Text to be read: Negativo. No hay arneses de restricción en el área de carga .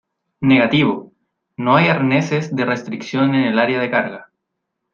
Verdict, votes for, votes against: accepted, 2, 0